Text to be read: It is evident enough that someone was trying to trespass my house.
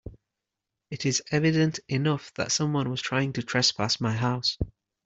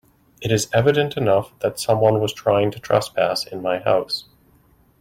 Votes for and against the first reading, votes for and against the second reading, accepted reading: 2, 1, 1, 2, first